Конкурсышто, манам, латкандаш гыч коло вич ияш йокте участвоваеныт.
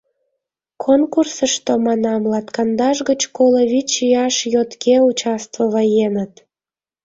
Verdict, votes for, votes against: rejected, 1, 2